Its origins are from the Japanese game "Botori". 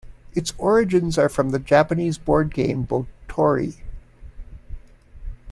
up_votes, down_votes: 0, 2